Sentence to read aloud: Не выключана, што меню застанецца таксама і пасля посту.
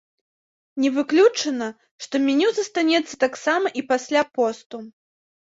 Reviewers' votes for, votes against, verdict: 2, 0, accepted